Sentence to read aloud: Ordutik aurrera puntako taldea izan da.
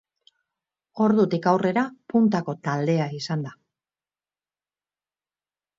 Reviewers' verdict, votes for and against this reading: rejected, 2, 2